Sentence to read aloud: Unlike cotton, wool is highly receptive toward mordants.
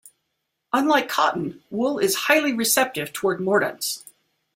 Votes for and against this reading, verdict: 2, 0, accepted